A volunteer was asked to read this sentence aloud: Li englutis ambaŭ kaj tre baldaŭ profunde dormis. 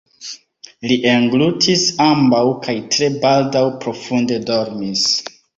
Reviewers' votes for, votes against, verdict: 3, 1, accepted